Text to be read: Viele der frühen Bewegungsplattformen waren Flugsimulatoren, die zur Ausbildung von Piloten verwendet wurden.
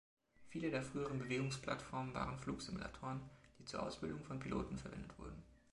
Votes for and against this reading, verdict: 2, 1, accepted